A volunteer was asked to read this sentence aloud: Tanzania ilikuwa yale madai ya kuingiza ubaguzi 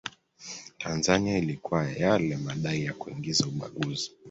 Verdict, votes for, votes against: accepted, 2, 0